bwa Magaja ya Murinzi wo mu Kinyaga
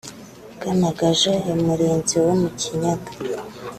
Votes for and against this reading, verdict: 4, 0, accepted